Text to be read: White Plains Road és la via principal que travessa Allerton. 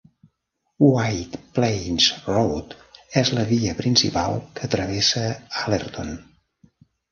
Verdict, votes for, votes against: accepted, 3, 0